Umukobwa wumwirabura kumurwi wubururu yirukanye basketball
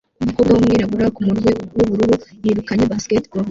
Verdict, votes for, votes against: rejected, 0, 2